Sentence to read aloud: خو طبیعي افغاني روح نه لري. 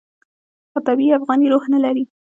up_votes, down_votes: 0, 2